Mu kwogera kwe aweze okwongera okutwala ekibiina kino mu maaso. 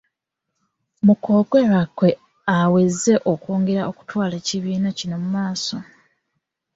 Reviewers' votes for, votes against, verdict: 2, 0, accepted